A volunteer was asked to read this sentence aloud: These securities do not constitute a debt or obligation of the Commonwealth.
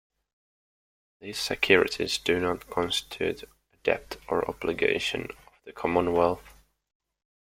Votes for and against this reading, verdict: 2, 1, accepted